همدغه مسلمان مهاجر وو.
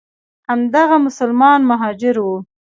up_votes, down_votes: 2, 0